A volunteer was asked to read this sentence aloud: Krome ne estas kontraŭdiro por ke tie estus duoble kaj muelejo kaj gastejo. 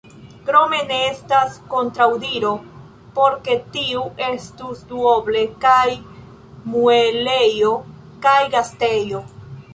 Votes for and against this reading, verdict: 0, 2, rejected